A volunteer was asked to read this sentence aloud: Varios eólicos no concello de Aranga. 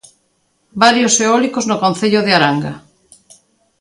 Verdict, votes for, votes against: accepted, 3, 0